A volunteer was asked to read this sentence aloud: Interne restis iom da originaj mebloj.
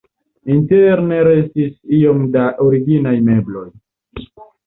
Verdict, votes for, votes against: accepted, 2, 0